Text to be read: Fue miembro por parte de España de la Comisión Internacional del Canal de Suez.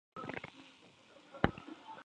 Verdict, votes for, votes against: rejected, 0, 4